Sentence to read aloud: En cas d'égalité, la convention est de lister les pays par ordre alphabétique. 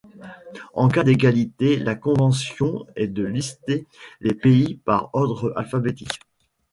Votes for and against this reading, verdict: 0, 2, rejected